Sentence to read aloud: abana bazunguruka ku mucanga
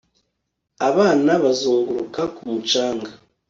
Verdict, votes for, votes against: accepted, 2, 0